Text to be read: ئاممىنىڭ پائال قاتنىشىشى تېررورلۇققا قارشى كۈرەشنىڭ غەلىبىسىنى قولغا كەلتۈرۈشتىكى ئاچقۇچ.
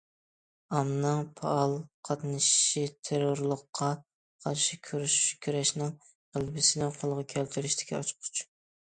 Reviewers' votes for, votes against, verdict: 0, 2, rejected